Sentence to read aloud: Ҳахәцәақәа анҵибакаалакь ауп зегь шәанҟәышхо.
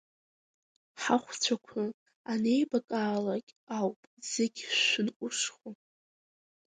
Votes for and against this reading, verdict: 1, 2, rejected